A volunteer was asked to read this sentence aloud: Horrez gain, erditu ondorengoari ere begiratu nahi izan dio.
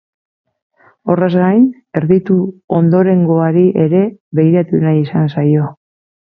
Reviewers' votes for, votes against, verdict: 0, 8, rejected